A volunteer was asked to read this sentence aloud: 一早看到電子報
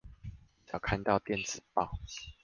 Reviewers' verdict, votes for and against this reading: rejected, 1, 2